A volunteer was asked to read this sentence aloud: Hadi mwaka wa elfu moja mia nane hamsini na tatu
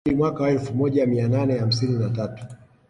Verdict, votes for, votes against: rejected, 0, 2